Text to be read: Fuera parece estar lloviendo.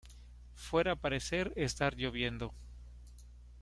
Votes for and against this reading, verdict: 1, 2, rejected